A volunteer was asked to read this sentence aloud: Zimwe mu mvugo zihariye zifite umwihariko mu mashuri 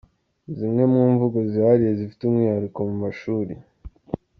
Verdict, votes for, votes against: accepted, 2, 0